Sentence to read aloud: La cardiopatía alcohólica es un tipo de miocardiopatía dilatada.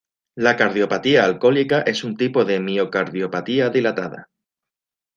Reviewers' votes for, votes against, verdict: 2, 0, accepted